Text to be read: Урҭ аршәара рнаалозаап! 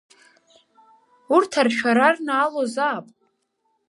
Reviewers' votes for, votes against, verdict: 2, 0, accepted